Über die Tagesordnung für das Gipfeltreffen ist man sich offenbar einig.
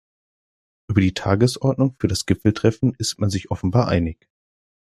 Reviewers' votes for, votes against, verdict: 2, 0, accepted